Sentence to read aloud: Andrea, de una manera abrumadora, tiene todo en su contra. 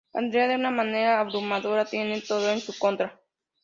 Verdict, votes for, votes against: accepted, 2, 0